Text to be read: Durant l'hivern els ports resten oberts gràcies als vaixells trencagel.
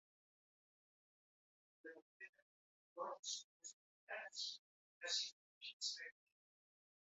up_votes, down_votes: 2, 1